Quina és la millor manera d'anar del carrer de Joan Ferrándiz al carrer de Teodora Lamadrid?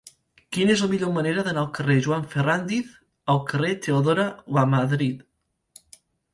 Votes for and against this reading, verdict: 0, 2, rejected